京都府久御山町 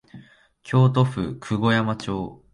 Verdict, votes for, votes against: accepted, 2, 0